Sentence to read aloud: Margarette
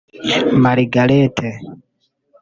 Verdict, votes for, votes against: rejected, 1, 2